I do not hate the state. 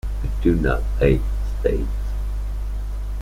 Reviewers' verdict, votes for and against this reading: rejected, 1, 2